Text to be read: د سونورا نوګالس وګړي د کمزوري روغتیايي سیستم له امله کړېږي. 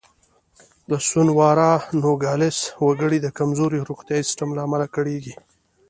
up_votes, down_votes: 2, 0